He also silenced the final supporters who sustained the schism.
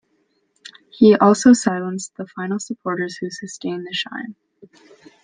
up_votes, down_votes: 1, 2